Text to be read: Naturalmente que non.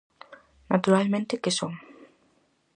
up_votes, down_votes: 0, 4